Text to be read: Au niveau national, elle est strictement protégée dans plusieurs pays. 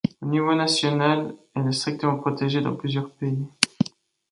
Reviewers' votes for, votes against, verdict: 1, 2, rejected